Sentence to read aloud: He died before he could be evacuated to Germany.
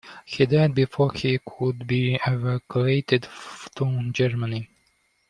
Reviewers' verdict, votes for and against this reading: rejected, 1, 2